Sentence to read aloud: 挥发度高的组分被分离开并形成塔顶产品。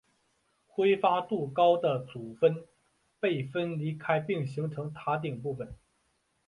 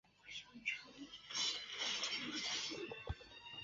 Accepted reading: first